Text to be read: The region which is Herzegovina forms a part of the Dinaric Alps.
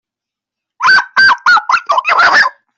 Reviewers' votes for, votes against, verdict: 0, 2, rejected